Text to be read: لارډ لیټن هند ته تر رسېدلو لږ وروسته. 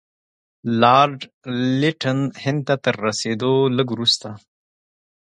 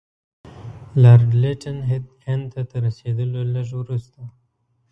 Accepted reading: first